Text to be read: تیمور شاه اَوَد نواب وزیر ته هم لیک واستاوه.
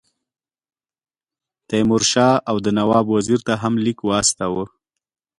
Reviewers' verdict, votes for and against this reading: accepted, 2, 0